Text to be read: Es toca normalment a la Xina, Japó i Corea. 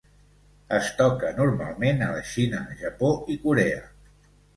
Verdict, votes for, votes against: accepted, 2, 0